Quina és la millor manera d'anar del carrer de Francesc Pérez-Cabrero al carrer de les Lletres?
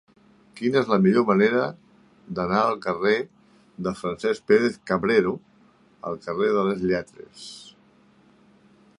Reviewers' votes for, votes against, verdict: 2, 1, accepted